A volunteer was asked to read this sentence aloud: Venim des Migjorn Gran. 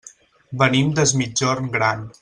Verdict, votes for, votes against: accepted, 3, 0